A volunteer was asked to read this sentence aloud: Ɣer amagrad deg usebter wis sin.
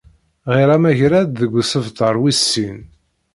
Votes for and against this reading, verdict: 0, 2, rejected